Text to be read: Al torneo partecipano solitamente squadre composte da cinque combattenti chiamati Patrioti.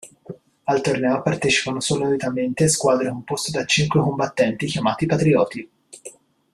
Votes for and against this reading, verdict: 2, 1, accepted